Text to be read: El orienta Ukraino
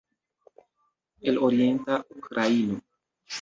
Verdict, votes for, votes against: rejected, 1, 2